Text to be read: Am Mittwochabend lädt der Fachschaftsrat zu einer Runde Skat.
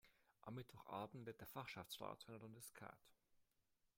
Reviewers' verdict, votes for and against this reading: rejected, 1, 2